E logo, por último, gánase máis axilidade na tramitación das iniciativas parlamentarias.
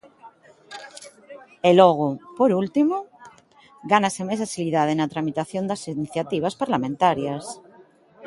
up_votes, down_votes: 2, 0